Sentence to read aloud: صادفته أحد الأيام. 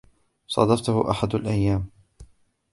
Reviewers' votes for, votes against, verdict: 2, 1, accepted